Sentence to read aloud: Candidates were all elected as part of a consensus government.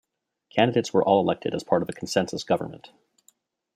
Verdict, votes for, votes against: rejected, 1, 2